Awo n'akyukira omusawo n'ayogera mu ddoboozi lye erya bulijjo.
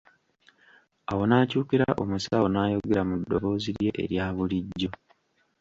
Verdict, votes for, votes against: rejected, 1, 2